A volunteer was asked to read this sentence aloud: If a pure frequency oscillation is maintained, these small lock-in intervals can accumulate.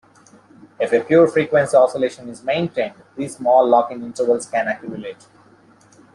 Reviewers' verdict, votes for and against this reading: accepted, 2, 0